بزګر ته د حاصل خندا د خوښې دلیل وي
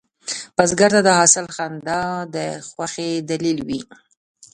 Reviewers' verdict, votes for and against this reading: rejected, 0, 2